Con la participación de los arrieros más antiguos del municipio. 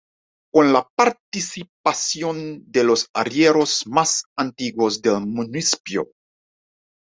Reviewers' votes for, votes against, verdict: 2, 0, accepted